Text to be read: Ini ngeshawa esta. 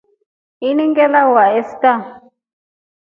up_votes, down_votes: 1, 2